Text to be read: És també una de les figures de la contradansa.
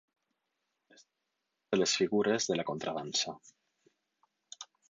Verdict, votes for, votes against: rejected, 2, 4